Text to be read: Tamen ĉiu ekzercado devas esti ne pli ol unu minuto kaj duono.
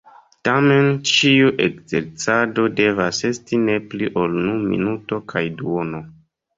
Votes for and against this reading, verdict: 2, 1, accepted